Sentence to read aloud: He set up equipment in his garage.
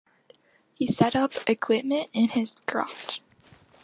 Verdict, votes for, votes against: accepted, 2, 0